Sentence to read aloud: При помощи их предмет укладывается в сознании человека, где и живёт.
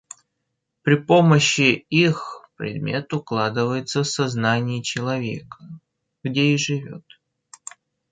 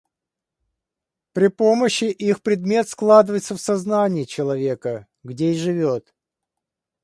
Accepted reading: first